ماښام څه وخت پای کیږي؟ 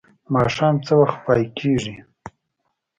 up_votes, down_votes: 1, 2